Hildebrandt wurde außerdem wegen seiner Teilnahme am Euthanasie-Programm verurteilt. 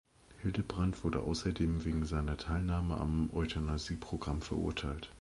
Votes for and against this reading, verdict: 0, 2, rejected